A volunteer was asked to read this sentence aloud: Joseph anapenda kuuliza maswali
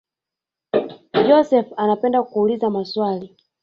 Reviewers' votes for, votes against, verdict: 1, 2, rejected